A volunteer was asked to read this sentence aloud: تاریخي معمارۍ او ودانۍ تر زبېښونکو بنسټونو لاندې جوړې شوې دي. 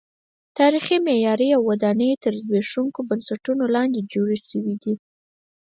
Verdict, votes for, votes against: rejected, 0, 4